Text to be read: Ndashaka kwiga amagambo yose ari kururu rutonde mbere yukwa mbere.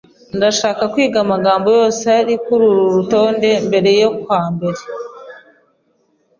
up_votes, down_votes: 2, 0